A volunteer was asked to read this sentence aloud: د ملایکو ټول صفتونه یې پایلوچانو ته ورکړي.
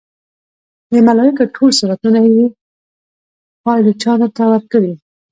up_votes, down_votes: 0, 2